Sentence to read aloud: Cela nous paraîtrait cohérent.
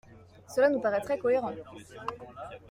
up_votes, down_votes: 2, 1